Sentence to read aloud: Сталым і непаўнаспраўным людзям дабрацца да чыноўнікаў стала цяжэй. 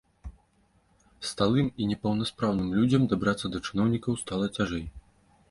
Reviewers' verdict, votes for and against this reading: rejected, 1, 2